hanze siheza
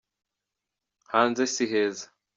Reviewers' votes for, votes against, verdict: 2, 0, accepted